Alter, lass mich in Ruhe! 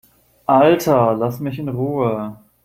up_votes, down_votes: 2, 0